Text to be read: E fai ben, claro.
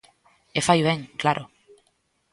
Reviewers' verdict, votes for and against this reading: accepted, 2, 0